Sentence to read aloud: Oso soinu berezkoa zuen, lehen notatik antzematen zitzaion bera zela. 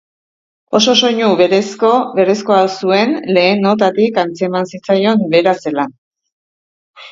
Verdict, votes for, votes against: accepted, 2, 1